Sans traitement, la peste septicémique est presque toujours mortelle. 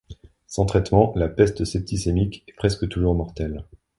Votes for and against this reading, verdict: 2, 0, accepted